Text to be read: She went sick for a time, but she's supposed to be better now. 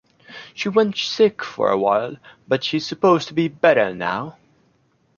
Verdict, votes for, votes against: rejected, 0, 2